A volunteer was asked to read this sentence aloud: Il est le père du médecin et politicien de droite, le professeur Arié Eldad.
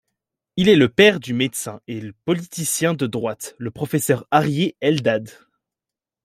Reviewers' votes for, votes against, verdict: 0, 2, rejected